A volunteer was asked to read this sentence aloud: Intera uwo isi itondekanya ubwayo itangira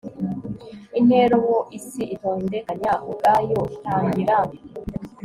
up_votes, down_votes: 2, 0